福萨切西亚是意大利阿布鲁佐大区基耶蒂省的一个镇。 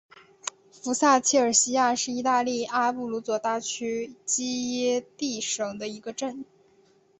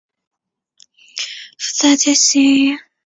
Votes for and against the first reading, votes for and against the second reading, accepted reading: 3, 0, 1, 2, first